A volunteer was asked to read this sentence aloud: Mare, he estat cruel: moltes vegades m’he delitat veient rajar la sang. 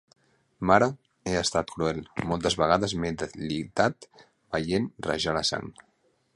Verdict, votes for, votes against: rejected, 0, 2